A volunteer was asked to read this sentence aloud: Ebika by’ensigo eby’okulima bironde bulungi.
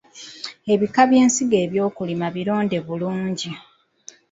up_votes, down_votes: 2, 1